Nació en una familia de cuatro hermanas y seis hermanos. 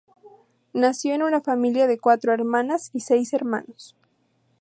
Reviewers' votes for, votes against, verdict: 2, 2, rejected